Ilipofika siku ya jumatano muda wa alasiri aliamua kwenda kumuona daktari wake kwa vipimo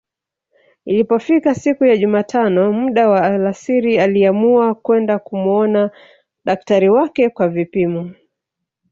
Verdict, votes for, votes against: accepted, 8, 0